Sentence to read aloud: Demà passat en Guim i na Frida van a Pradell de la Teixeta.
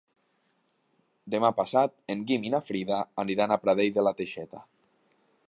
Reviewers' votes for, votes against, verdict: 0, 2, rejected